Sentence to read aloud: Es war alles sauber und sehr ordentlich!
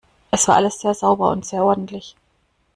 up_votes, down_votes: 0, 2